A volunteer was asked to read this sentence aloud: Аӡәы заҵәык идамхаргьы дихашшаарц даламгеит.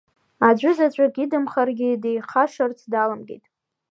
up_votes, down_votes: 1, 2